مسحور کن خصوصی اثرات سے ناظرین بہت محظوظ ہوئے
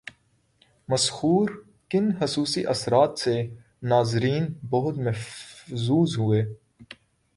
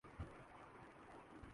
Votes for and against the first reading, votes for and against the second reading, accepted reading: 3, 1, 2, 6, first